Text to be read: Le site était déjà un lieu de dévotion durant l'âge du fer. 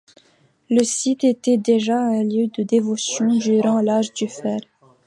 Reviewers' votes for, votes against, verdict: 2, 0, accepted